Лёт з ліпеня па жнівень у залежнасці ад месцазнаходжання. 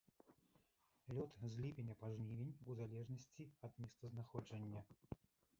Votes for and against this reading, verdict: 0, 2, rejected